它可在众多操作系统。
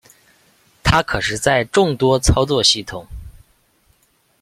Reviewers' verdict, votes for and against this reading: rejected, 0, 3